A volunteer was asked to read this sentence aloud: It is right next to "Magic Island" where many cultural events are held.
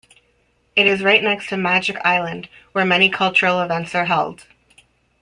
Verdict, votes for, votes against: accepted, 2, 0